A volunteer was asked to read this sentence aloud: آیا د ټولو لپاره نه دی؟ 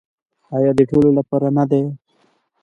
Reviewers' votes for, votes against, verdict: 2, 0, accepted